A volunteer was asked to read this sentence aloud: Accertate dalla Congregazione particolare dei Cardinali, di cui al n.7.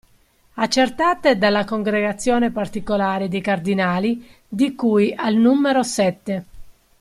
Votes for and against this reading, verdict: 0, 2, rejected